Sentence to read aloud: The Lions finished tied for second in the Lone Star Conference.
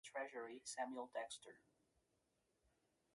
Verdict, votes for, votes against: rejected, 0, 2